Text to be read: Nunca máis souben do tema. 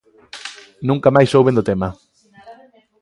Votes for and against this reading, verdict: 2, 0, accepted